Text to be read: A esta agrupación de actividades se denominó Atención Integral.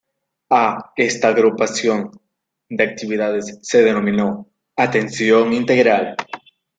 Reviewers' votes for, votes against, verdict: 1, 3, rejected